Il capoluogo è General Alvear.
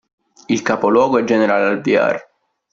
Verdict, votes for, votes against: rejected, 1, 2